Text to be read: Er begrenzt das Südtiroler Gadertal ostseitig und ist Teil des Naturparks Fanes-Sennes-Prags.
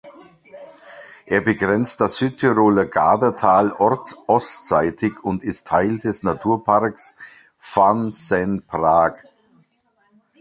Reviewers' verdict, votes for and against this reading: rejected, 0, 2